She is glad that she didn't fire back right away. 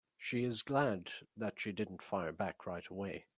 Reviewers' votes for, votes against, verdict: 4, 0, accepted